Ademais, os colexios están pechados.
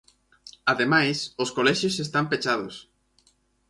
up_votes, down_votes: 4, 0